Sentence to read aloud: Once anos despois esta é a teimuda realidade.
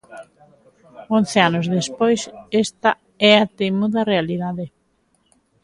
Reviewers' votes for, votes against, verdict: 2, 0, accepted